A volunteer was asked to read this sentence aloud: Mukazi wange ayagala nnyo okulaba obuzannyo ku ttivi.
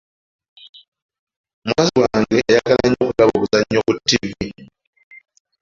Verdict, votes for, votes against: rejected, 0, 2